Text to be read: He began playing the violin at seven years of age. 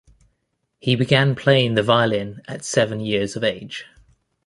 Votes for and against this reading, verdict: 2, 0, accepted